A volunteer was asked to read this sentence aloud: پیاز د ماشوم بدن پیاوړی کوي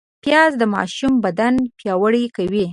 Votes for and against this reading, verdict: 3, 0, accepted